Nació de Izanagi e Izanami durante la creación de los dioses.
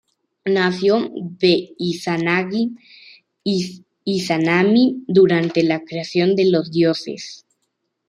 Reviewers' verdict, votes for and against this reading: rejected, 1, 2